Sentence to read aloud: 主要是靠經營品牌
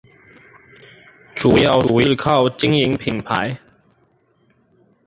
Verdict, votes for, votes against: rejected, 0, 4